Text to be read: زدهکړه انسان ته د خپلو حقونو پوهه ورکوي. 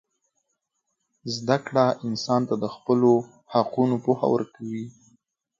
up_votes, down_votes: 2, 0